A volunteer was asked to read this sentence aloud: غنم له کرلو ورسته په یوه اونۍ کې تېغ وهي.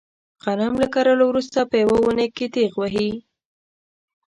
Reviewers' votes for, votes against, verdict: 1, 2, rejected